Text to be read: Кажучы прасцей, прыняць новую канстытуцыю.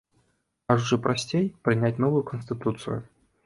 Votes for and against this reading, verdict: 2, 0, accepted